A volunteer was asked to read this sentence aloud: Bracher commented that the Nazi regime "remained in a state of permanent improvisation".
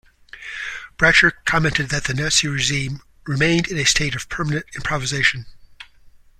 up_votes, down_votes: 2, 0